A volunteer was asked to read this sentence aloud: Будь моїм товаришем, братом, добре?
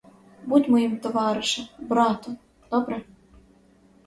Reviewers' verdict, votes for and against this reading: accepted, 4, 0